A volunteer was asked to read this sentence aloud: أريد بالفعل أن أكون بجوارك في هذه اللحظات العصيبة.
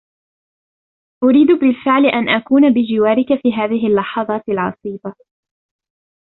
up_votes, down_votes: 2, 0